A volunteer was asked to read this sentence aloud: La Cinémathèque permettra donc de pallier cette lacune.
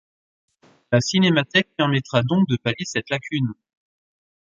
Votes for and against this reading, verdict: 3, 0, accepted